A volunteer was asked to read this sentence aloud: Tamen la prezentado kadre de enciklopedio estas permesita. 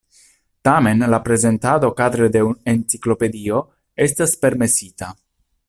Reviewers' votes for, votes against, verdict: 1, 2, rejected